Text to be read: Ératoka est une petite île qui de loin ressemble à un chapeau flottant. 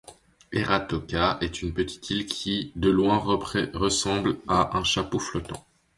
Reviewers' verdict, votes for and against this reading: rejected, 0, 2